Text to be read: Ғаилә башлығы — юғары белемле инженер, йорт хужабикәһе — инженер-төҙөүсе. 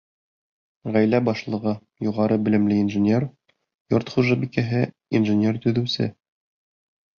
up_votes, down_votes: 3, 1